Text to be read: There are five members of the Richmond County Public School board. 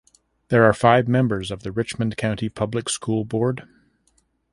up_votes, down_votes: 2, 0